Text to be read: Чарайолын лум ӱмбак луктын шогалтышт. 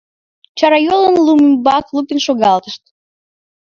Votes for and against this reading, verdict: 3, 4, rejected